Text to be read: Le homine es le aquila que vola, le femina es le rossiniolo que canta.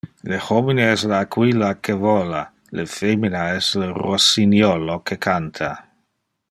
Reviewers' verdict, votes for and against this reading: accepted, 2, 0